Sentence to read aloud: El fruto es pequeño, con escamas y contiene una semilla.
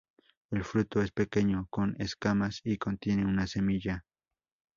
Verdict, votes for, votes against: accepted, 2, 0